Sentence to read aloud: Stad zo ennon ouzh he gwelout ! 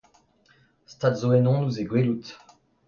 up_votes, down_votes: 2, 0